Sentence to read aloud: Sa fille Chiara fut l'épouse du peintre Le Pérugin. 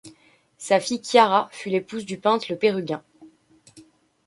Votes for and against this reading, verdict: 2, 1, accepted